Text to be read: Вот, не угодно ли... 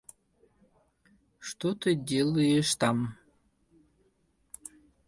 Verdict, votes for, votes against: rejected, 0, 2